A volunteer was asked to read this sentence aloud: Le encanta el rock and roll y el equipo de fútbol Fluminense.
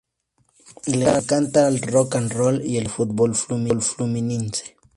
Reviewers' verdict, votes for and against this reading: rejected, 0, 2